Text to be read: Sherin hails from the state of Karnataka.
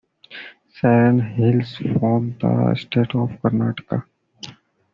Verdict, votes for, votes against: accepted, 2, 1